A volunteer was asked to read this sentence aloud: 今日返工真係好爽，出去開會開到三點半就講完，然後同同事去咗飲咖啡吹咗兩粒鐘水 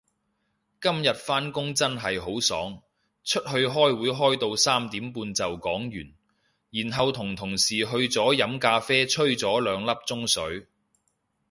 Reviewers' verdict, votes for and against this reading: accepted, 2, 0